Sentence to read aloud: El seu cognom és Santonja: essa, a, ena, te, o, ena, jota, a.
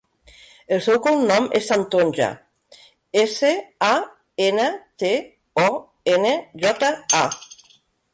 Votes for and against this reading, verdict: 0, 3, rejected